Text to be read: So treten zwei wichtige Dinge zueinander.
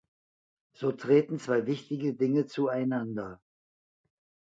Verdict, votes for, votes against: accepted, 2, 0